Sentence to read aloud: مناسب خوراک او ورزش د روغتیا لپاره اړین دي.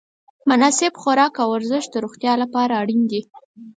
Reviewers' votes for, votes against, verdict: 4, 0, accepted